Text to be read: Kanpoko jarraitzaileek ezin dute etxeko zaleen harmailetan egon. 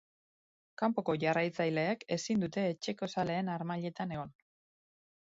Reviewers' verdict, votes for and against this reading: accepted, 3, 0